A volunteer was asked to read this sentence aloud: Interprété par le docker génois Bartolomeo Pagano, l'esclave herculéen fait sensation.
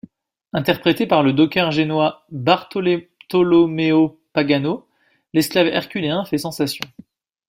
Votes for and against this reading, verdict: 1, 2, rejected